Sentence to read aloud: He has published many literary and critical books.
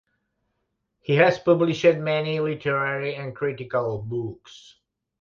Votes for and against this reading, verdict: 2, 0, accepted